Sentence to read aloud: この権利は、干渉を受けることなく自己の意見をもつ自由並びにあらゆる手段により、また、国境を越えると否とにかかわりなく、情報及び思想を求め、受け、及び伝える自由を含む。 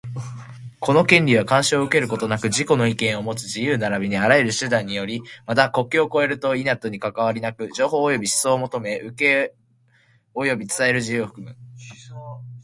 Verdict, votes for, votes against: accepted, 2, 0